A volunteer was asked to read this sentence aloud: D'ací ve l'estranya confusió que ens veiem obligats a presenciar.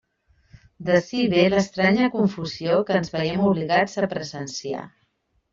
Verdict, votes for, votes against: accepted, 3, 0